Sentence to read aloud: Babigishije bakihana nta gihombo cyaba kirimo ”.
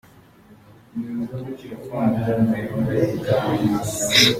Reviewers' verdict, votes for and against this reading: rejected, 0, 3